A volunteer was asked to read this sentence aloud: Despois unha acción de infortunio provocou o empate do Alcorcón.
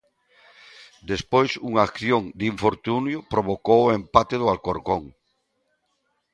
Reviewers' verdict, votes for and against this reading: accepted, 2, 0